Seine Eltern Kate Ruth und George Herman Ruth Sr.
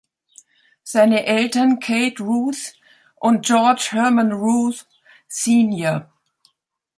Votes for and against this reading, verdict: 1, 2, rejected